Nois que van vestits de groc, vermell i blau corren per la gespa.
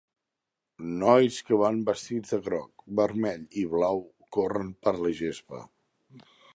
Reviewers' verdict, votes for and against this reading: accepted, 2, 0